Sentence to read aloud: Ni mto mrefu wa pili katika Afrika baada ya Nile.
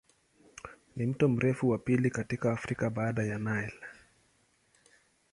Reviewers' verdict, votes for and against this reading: accepted, 2, 0